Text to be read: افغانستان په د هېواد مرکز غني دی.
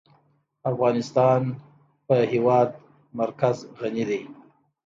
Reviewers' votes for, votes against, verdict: 2, 0, accepted